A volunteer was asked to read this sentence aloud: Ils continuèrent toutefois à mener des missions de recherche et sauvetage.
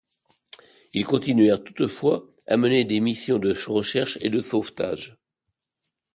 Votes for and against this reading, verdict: 1, 2, rejected